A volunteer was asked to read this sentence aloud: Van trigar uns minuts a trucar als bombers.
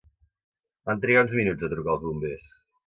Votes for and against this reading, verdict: 2, 0, accepted